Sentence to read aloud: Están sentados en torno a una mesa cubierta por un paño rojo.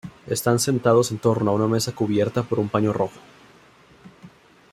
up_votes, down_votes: 2, 0